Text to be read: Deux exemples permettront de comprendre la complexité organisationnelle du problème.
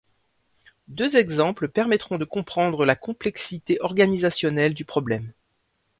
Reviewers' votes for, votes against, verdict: 2, 0, accepted